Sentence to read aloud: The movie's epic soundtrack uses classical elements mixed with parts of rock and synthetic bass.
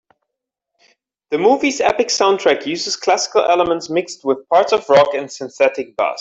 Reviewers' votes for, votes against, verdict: 2, 1, accepted